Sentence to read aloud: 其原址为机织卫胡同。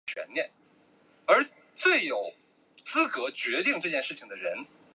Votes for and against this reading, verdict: 0, 2, rejected